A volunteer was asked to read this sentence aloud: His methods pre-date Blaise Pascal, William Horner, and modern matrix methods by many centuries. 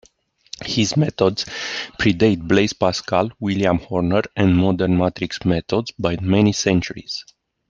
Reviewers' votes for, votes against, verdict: 0, 2, rejected